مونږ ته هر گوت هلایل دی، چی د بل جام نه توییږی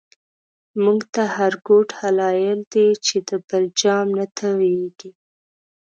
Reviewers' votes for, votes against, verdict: 0, 4, rejected